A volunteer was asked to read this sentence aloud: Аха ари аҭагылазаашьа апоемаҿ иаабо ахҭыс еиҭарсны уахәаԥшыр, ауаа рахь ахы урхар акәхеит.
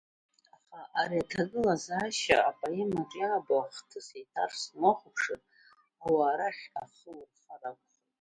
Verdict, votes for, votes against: rejected, 0, 2